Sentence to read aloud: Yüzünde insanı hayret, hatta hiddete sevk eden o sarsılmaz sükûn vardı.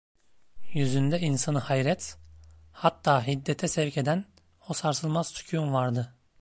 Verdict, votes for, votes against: accepted, 2, 0